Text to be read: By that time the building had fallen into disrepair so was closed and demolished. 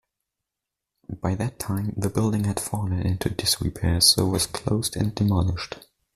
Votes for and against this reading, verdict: 2, 0, accepted